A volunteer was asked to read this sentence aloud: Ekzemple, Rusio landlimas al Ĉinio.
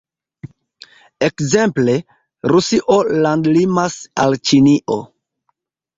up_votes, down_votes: 1, 2